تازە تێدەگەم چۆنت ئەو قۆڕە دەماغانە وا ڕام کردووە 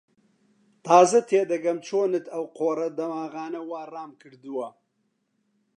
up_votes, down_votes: 2, 0